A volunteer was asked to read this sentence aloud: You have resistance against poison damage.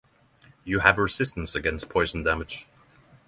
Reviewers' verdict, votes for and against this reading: accepted, 6, 0